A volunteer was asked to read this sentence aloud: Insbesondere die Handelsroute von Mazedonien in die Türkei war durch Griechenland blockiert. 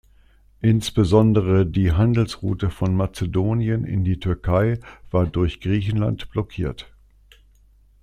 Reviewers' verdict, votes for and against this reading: accepted, 2, 0